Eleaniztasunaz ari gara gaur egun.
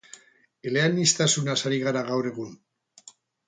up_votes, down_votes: 2, 2